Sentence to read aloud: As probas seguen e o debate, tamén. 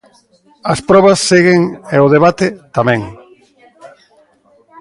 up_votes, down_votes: 2, 0